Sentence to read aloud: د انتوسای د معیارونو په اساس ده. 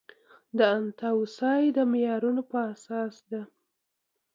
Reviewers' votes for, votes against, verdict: 2, 0, accepted